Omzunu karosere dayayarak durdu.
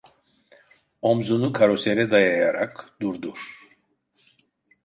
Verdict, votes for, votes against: rejected, 1, 2